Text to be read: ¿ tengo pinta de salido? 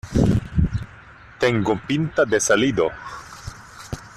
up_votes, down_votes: 2, 0